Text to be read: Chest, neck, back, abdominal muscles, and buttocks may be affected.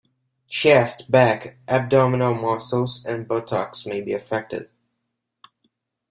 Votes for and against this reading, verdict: 0, 2, rejected